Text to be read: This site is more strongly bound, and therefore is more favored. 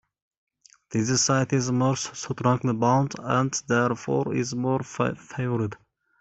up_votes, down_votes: 0, 2